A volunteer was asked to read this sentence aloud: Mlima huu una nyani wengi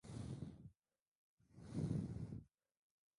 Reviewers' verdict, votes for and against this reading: rejected, 0, 2